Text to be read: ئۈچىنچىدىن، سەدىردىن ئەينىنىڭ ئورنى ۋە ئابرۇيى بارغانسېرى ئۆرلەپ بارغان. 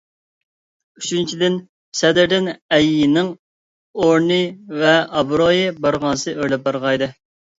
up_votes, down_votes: 0, 2